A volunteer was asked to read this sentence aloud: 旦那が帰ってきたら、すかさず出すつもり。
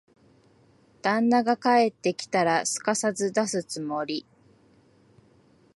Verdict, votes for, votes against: accepted, 2, 0